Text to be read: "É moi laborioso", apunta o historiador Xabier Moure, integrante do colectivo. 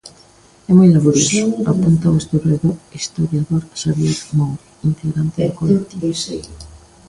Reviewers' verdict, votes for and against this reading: rejected, 0, 2